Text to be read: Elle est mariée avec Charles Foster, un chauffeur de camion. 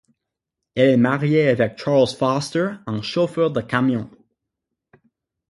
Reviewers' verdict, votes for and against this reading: rejected, 3, 6